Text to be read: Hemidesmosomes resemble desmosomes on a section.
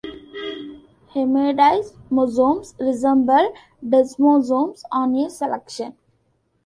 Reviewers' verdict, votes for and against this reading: rejected, 0, 2